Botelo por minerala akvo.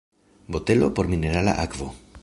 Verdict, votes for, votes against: accepted, 2, 0